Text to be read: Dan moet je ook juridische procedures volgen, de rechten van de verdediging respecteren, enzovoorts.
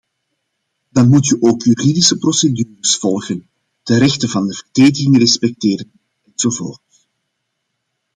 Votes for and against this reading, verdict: 1, 2, rejected